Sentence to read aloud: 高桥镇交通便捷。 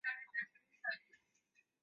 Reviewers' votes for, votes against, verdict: 1, 3, rejected